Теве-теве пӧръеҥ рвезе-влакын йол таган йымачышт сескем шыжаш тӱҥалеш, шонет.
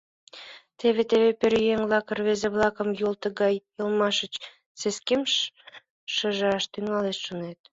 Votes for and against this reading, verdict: 0, 2, rejected